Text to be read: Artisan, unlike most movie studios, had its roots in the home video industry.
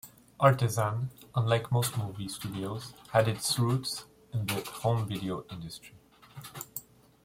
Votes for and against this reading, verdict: 1, 2, rejected